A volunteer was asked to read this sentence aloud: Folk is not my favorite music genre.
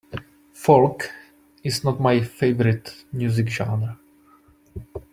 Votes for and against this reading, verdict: 2, 1, accepted